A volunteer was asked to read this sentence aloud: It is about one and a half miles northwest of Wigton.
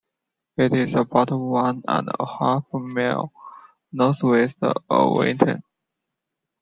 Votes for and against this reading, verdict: 1, 2, rejected